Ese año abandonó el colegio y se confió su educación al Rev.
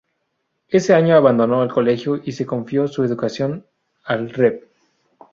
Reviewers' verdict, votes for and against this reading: rejected, 0, 2